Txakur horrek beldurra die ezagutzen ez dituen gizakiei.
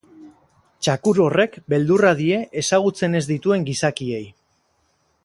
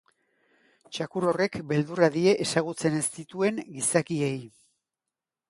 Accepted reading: second